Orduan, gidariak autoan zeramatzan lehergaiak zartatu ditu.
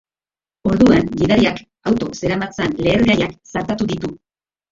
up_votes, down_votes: 0, 3